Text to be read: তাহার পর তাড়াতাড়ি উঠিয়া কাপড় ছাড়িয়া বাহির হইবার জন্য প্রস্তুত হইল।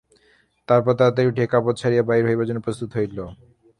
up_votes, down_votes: 0, 3